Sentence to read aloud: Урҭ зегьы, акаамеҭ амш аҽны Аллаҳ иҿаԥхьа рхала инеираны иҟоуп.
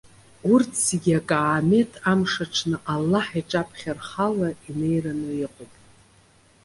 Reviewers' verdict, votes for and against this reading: accepted, 2, 0